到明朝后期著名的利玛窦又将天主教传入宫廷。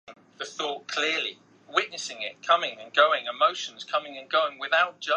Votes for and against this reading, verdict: 0, 5, rejected